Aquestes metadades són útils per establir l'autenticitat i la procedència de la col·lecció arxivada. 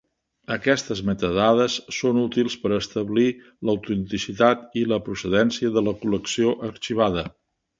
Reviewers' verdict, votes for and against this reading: accepted, 3, 0